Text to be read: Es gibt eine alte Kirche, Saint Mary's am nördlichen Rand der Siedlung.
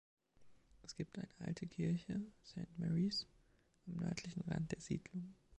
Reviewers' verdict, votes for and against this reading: accepted, 2, 1